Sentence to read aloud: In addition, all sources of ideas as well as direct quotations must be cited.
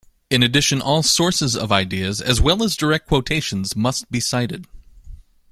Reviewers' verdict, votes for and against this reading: accepted, 2, 0